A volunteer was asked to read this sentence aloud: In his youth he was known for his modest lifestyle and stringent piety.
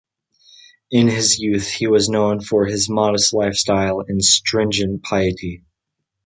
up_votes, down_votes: 2, 0